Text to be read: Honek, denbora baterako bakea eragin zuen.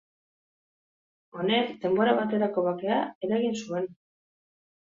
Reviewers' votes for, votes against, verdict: 3, 1, accepted